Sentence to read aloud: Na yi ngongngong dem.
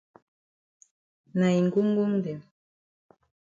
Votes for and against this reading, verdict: 2, 0, accepted